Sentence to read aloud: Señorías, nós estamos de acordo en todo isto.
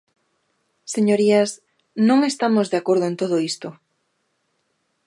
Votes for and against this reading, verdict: 0, 2, rejected